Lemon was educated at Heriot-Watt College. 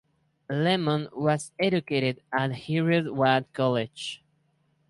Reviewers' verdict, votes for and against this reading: accepted, 4, 0